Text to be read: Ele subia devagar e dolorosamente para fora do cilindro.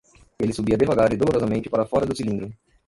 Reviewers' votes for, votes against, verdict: 0, 2, rejected